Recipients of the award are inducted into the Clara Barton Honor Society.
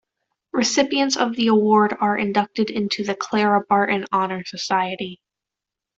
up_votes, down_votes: 2, 0